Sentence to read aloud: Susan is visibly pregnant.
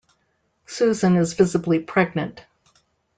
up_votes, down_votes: 2, 0